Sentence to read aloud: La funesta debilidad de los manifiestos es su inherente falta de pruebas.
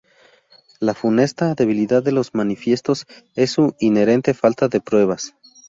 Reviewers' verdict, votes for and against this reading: accepted, 2, 0